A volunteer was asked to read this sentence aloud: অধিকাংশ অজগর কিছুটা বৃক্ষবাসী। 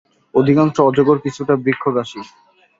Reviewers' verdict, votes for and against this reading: accepted, 2, 0